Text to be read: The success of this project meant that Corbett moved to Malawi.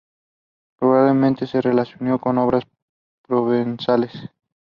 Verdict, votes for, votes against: rejected, 0, 2